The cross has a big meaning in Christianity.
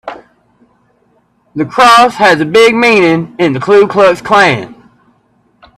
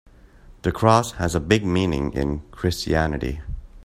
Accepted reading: second